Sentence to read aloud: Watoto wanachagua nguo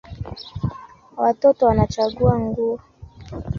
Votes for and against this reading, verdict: 2, 0, accepted